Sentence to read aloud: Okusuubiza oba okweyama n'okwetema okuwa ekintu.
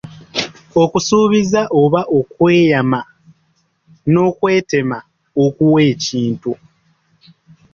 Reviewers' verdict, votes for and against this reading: rejected, 1, 2